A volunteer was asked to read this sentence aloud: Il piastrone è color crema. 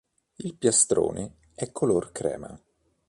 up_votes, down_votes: 2, 0